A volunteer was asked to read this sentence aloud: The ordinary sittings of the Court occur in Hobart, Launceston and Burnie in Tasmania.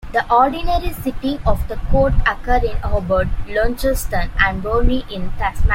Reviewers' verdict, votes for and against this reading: rejected, 0, 2